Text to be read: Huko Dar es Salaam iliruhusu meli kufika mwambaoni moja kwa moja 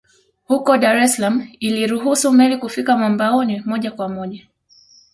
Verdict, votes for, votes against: accepted, 2, 0